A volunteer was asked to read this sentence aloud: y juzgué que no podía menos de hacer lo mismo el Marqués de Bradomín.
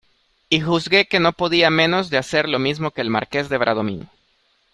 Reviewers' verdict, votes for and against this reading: rejected, 0, 2